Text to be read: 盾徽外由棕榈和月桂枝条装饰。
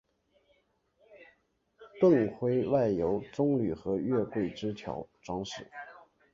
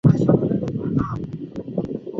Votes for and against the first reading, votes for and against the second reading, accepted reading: 2, 1, 0, 3, first